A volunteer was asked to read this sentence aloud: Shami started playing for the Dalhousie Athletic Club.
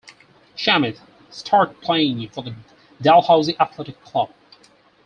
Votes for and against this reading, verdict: 4, 0, accepted